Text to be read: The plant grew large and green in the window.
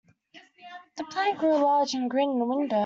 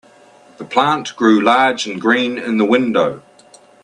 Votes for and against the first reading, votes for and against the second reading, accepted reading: 0, 2, 2, 0, second